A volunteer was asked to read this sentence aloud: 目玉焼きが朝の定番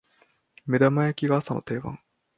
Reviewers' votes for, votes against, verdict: 2, 1, accepted